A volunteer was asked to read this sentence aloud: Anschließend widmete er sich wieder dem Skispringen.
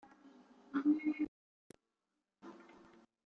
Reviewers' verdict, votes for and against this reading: rejected, 0, 2